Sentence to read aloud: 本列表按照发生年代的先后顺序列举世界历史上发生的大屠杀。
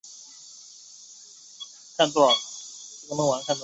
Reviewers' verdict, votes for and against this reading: rejected, 2, 4